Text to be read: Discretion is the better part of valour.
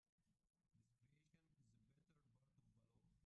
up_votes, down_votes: 0, 2